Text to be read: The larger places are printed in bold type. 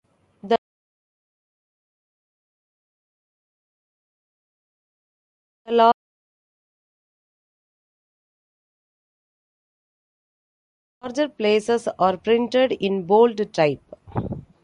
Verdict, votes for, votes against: rejected, 0, 2